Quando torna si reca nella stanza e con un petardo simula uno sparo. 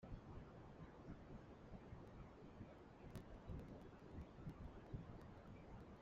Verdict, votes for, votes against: rejected, 0, 2